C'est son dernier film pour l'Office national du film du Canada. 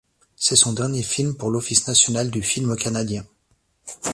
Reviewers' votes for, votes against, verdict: 1, 3, rejected